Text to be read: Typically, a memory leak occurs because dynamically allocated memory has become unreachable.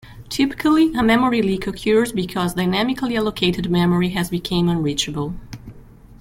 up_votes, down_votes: 0, 2